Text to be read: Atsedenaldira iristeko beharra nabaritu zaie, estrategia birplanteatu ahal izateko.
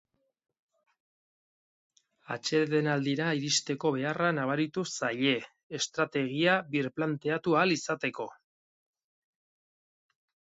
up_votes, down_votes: 2, 0